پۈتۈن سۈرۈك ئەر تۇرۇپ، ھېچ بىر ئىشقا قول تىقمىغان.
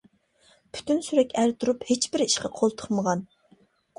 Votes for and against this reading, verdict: 2, 0, accepted